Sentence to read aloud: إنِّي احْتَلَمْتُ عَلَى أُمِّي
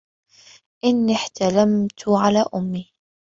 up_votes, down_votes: 2, 1